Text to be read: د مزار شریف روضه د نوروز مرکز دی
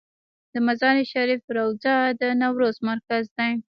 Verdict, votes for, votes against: accepted, 2, 1